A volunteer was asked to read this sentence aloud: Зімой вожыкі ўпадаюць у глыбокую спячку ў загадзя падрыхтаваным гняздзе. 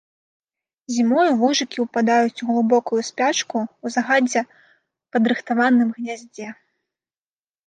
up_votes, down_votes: 1, 3